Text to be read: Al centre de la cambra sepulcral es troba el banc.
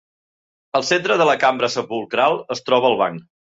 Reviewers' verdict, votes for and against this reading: accepted, 3, 0